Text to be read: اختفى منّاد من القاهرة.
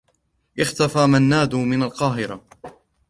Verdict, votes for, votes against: accepted, 2, 0